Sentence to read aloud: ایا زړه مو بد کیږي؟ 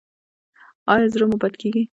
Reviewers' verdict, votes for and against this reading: rejected, 1, 2